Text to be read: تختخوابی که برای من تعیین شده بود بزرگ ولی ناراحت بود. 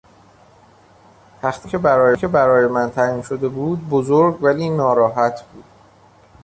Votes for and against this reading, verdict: 0, 2, rejected